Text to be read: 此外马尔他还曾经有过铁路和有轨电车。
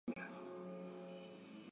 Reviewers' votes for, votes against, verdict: 1, 6, rejected